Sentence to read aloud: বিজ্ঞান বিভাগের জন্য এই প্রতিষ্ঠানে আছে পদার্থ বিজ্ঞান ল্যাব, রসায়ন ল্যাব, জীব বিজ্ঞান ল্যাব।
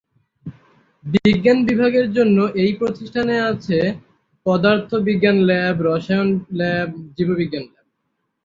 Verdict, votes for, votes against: rejected, 0, 3